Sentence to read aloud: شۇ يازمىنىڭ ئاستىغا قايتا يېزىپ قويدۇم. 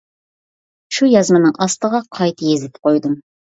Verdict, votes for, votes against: accepted, 2, 0